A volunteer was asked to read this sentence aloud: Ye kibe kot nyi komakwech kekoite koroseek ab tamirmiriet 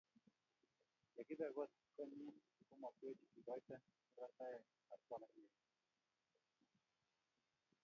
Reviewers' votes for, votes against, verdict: 0, 4, rejected